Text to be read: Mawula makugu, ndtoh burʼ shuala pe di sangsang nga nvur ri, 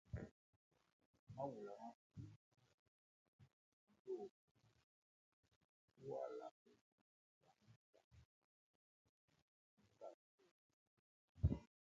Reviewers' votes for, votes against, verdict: 0, 2, rejected